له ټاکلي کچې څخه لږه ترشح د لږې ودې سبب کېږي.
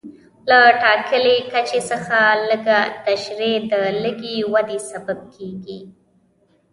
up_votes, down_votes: 2, 0